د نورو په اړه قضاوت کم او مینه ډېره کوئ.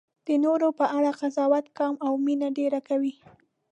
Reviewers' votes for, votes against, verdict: 1, 2, rejected